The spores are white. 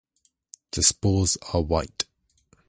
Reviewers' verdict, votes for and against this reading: rejected, 2, 2